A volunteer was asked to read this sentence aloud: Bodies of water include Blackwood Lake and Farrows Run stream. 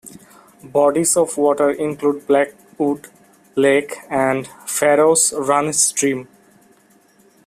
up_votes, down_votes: 2, 0